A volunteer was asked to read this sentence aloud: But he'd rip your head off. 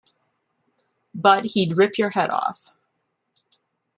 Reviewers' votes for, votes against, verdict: 2, 1, accepted